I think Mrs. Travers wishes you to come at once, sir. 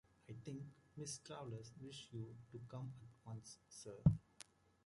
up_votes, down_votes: 1, 2